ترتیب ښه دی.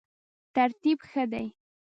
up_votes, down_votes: 1, 2